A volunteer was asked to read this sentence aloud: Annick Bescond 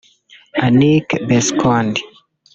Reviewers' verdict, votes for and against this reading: rejected, 1, 2